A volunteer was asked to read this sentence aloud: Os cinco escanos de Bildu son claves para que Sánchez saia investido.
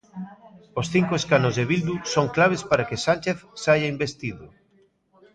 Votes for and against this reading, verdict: 0, 2, rejected